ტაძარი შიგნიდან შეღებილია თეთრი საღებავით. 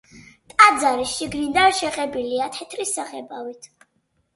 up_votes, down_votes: 2, 0